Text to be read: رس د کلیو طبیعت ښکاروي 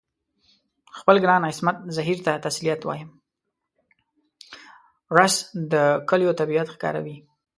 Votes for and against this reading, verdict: 0, 2, rejected